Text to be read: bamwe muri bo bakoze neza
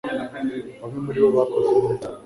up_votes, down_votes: 2, 0